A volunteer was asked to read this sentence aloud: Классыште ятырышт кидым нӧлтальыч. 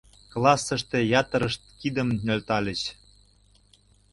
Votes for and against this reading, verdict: 2, 0, accepted